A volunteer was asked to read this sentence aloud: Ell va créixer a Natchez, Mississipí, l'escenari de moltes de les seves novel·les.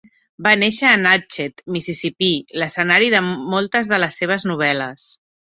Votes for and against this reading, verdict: 2, 3, rejected